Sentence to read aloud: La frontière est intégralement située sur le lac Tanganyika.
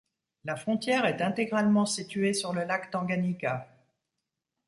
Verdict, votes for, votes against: accepted, 2, 0